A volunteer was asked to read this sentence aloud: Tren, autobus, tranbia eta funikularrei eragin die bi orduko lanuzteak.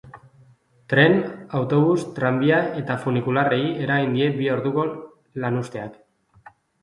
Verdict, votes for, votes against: accepted, 3, 0